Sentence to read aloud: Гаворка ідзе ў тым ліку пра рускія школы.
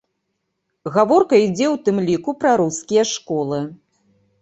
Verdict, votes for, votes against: accepted, 2, 0